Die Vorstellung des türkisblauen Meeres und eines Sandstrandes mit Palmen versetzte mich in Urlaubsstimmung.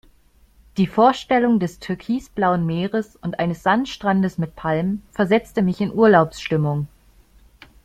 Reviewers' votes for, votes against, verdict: 2, 0, accepted